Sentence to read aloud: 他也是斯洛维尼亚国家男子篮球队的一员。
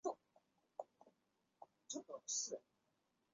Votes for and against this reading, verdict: 0, 2, rejected